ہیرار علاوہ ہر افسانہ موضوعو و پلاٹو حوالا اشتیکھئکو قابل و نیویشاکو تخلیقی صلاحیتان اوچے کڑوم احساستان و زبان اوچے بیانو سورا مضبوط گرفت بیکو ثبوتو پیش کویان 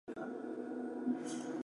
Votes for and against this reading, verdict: 1, 2, rejected